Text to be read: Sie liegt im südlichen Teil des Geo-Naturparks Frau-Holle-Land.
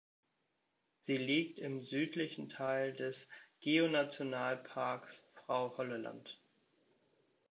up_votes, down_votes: 0, 2